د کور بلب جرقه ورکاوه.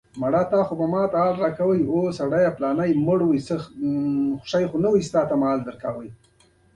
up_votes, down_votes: 1, 2